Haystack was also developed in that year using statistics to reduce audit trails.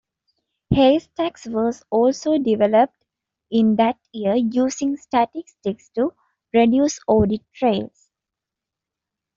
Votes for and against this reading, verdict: 2, 1, accepted